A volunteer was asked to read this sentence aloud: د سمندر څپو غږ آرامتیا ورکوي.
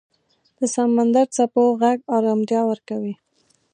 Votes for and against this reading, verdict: 2, 0, accepted